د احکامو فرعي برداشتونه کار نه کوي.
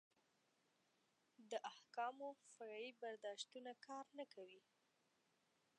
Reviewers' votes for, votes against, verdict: 1, 2, rejected